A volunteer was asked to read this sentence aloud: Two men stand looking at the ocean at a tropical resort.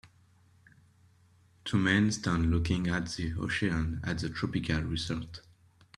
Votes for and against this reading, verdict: 0, 2, rejected